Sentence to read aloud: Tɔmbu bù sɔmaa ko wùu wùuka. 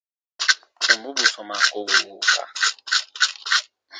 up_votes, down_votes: 2, 1